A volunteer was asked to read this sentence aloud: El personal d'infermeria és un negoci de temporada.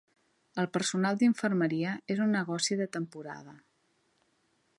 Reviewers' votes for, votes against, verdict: 1, 2, rejected